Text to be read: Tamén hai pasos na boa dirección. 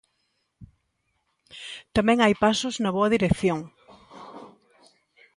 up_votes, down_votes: 2, 0